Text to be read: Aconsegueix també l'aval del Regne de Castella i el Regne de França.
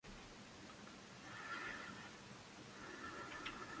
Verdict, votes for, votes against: rejected, 0, 2